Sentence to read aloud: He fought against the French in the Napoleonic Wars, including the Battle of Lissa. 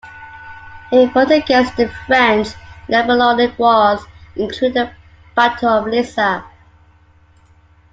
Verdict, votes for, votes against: rejected, 1, 2